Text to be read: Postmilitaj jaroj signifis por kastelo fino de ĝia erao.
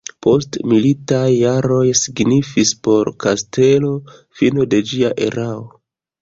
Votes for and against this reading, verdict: 2, 1, accepted